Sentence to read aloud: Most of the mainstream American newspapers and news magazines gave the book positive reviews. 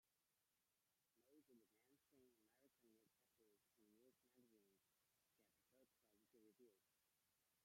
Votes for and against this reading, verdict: 0, 2, rejected